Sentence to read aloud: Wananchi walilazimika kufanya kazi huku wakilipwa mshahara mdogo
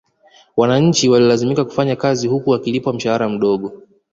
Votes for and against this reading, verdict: 2, 0, accepted